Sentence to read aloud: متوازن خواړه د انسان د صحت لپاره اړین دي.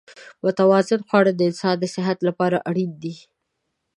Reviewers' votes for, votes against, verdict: 2, 0, accepted